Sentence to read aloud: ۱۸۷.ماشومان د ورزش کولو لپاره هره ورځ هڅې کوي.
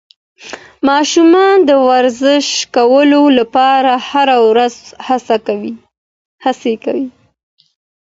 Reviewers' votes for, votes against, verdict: 0, 2, rejected